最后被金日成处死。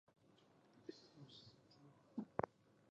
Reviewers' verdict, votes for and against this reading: rejected, 0, 2